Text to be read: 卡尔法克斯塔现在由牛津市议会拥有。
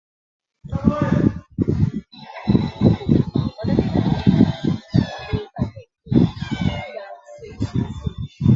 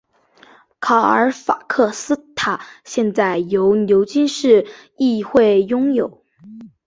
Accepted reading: second